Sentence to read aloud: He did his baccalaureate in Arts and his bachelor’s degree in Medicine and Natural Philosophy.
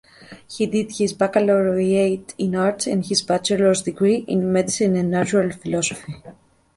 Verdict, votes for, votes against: rejected, 1, 2